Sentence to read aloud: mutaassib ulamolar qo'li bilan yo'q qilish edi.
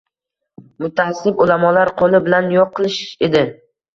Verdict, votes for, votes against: accepted, 2, 1